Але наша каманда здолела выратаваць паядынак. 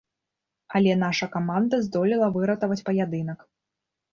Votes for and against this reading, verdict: 2, 0, accepted